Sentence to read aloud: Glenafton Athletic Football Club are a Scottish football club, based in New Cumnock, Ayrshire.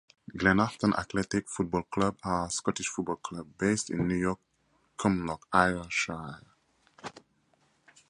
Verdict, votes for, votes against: accepted, 2, 0